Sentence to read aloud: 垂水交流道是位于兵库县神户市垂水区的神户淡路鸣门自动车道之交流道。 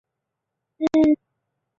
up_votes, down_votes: 0, 2